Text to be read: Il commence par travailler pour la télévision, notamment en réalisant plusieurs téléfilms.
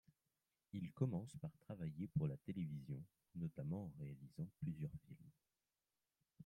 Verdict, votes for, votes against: rejected, 0, 2